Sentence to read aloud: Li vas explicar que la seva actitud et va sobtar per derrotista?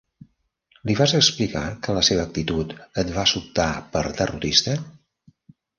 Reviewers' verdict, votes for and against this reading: accepted, 2, 0